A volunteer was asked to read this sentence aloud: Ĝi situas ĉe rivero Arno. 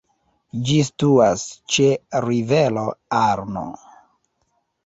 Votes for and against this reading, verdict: 0, 2, rejected